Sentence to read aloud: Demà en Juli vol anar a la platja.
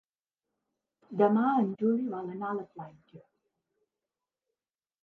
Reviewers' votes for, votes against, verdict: 2, 0, accepted